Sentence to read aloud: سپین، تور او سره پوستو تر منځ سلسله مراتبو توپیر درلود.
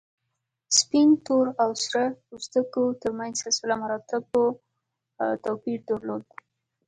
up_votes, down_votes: 4, 1